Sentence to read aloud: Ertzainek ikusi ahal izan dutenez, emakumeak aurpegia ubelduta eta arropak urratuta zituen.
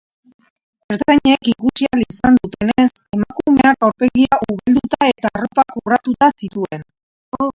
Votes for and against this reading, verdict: 0, 2, rejected